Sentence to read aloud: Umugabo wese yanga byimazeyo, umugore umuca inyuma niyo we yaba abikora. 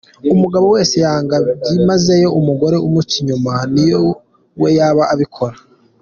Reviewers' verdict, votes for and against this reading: accepted, 2, 1